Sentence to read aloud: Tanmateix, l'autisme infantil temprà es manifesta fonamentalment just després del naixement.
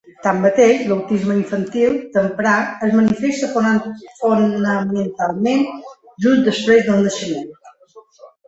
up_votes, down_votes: 0, 2